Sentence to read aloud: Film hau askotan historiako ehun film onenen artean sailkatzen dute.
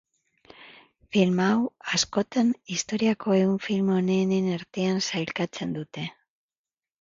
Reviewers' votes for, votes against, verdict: 0, 2, rejected